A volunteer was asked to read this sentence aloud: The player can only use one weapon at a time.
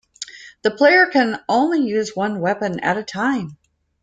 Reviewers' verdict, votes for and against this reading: accepted, 2, 0